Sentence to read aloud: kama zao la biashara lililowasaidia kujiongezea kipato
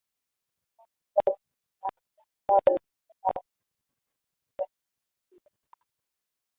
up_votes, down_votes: 0, 2